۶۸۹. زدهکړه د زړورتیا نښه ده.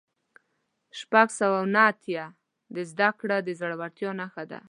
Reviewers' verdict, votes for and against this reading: rejected, 0, 2